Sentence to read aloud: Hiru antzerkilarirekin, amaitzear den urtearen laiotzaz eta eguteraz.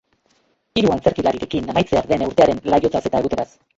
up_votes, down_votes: 0, 2